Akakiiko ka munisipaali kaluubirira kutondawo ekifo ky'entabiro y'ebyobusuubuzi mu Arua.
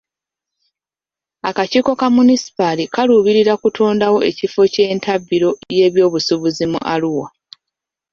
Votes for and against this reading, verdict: 0, 2, rejected